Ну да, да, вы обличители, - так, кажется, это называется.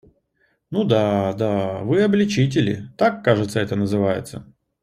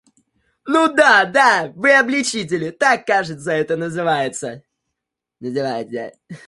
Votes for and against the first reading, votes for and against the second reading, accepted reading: 2, 0, 1, 2, first